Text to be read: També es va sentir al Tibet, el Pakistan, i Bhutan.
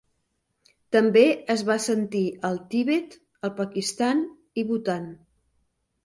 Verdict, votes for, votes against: rejected, 1, 2